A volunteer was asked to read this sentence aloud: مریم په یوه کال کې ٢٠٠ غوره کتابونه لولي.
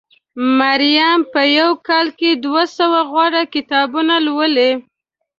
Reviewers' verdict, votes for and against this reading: rejected, 0, 2